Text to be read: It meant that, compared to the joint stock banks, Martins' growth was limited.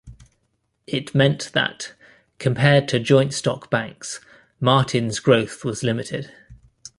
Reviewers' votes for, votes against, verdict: 1, 2, rejected